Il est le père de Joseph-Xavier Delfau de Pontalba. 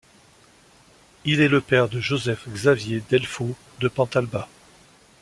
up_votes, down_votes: 2, 1